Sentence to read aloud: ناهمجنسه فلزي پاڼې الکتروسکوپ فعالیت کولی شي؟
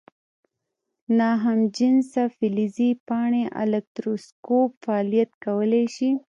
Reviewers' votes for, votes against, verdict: 1, 2, rejected